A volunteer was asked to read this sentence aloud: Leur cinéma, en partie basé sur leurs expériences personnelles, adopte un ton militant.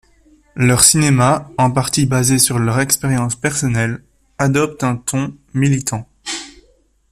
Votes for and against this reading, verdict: 1, 2, rejected